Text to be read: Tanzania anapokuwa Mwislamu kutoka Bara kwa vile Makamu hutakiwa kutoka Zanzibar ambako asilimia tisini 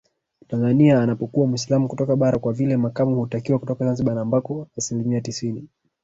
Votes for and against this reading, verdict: 1, 2, rejected